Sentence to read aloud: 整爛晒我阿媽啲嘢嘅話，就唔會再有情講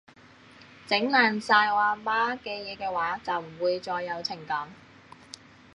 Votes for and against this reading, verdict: 1, 2, rejected